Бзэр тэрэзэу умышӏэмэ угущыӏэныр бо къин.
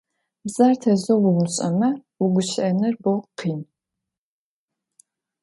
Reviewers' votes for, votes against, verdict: 1, 2, rejected